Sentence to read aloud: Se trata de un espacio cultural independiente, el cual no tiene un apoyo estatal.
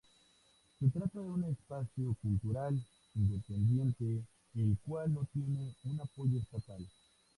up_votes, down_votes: 2, 0